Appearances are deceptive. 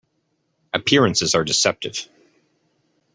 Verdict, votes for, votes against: accepted, 2, 0